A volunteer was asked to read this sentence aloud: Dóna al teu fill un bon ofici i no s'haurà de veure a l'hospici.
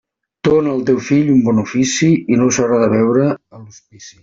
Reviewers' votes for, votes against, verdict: 1, 2, rejected